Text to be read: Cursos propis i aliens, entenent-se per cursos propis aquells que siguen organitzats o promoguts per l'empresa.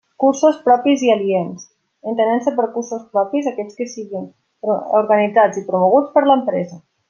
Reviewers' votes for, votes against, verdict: 0, 2, rejected